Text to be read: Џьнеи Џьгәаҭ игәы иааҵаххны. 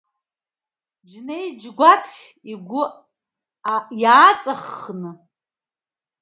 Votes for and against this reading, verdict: 1, 2, rejected